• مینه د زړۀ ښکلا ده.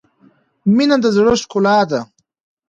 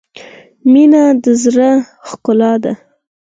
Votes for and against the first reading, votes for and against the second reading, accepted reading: 1, 2, 4, 2, second